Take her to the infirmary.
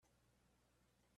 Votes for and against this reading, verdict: 0, 2, rejected